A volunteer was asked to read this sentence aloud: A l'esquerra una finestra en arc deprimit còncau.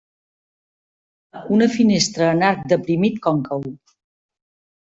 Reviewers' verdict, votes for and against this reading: rejected, 0, 2